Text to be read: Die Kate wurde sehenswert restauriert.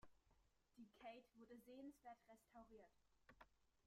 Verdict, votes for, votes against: rejected, 0, 2